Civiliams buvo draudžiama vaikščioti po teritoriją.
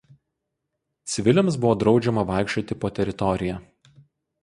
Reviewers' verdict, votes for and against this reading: rejected, 2, 2